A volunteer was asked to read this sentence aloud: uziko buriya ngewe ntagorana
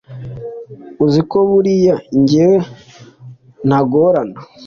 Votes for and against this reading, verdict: 3, 0, accepted